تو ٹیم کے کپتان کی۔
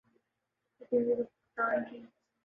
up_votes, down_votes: 0, 2